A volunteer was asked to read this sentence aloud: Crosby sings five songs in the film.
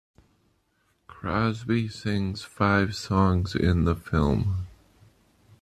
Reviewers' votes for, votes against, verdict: 0, 2, rejected